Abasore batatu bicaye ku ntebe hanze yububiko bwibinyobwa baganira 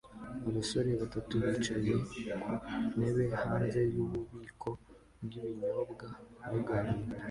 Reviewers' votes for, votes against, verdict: 2, 0, accepted